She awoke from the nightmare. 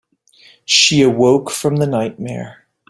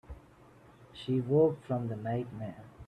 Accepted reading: first